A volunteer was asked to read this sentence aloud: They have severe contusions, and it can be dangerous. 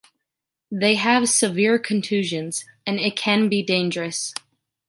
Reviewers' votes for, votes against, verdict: 2, 0, accepted